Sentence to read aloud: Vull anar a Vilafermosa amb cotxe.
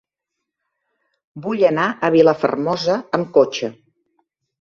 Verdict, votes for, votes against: accepted, 4, 0